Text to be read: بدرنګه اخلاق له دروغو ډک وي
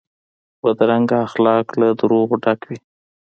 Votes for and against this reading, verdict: 2, 0, accepted